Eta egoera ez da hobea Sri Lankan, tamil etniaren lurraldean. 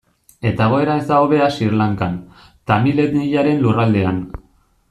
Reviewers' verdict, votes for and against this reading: rejected, 1, 2